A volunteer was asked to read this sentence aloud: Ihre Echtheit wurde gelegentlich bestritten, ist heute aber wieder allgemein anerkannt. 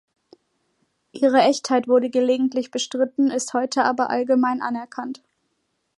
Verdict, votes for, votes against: rejected, 1, 2